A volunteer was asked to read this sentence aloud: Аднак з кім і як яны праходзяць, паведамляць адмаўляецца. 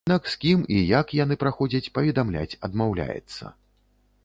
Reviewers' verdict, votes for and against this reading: rejected, 1, 2